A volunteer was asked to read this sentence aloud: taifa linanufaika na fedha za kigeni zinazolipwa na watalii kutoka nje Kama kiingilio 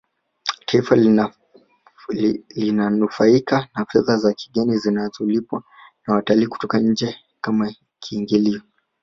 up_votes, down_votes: 0, 2